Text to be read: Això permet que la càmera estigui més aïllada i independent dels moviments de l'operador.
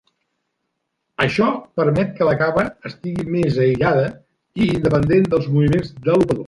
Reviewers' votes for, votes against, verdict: 1, 2, rejected